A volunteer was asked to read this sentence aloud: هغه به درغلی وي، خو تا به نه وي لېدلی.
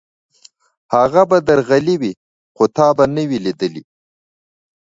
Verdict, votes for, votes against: rejected, 1, 2